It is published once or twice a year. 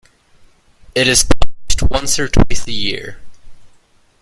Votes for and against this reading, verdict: 1, 2, rejected